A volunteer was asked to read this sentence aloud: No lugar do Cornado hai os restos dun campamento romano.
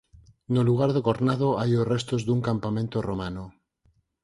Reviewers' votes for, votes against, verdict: 4, 0, accepted